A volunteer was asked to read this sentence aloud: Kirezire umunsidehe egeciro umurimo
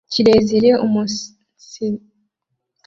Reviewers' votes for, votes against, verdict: 0, 2, rejected